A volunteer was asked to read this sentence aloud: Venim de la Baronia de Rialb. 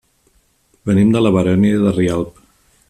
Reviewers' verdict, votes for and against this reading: rejected, 0, 2